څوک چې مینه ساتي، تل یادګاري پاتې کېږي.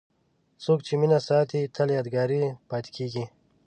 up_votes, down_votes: 2, 0